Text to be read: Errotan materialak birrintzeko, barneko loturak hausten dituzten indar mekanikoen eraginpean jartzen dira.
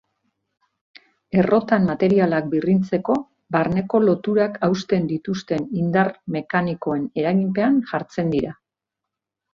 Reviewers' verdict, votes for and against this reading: accepted, 2, 0